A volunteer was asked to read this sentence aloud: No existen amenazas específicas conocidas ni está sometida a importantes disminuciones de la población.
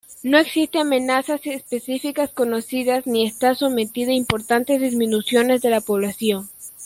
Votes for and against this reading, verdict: 0, 2, rejected